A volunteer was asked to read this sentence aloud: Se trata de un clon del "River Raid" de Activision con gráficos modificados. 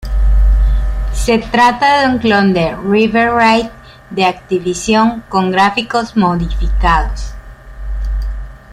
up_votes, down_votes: 0, 2